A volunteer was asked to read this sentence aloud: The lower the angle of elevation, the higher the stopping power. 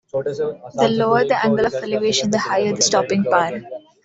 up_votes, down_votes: 2, 0